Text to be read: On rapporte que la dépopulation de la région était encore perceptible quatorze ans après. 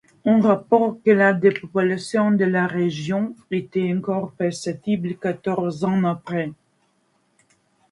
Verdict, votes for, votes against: rejected, 0, 2